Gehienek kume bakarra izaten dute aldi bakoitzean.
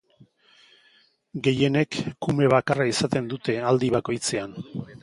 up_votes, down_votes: 2, 0